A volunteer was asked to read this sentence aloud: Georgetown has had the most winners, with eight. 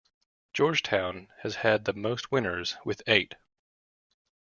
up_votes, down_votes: 2, 0